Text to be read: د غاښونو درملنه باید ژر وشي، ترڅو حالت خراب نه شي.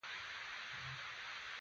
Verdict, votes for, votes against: rejected, 1, 2